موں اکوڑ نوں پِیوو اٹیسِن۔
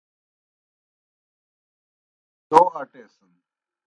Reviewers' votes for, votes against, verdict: 0, 2, rejected